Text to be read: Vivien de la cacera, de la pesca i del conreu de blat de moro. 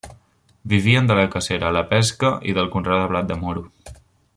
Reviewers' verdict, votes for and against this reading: rejected, 1, 2